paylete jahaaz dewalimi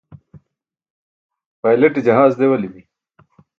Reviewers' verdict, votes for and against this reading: rejected, 1, 2